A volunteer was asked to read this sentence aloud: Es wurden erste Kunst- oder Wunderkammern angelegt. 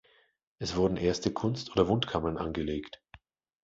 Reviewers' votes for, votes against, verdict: 0, 2, rejected